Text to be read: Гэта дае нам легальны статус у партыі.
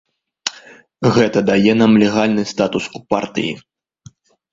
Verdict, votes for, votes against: accepted, 3, 0